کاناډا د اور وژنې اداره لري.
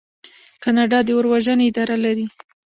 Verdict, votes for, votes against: rejected, 0, 2